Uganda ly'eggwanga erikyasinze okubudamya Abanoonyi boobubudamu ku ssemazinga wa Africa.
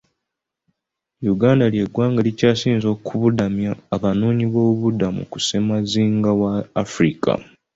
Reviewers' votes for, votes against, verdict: 2, 0, accepted